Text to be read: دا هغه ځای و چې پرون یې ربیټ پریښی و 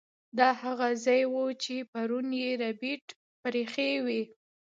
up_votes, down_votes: 0, 2